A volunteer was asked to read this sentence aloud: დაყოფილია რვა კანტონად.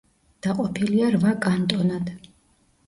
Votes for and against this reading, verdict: 1, 2, rejected